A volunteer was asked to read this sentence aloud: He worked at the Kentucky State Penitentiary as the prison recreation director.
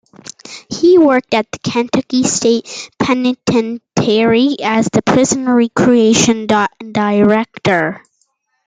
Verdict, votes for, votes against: rejected, 0, 2